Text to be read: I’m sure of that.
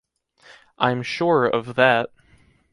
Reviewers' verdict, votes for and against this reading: accepted, 2, 0